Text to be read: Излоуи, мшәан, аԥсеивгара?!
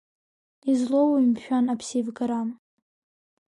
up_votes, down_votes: 2, 0